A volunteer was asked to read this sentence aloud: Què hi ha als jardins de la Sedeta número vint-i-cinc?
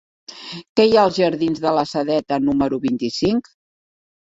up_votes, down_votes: 4, 0